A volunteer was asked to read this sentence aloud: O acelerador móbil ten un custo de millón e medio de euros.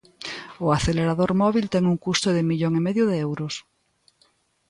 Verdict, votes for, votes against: accepted, 2, 0